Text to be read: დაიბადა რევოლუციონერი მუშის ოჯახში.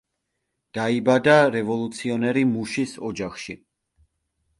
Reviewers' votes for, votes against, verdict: 2, 0, accepted